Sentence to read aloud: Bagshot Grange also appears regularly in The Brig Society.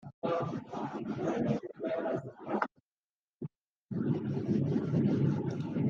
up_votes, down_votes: 0, 2